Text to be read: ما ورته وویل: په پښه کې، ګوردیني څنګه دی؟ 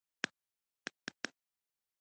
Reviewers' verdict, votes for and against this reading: rejected, 0, 2